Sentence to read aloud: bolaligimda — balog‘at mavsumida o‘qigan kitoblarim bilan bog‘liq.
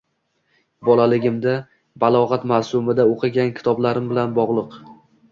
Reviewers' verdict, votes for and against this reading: rejected, 1, 2